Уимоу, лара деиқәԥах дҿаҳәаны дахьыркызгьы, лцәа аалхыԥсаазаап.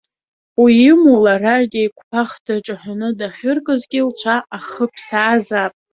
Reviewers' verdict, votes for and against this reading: accepted, 2, 0